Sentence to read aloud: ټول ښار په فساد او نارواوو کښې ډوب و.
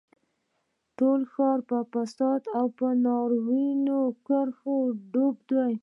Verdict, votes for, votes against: rejected, 2, 3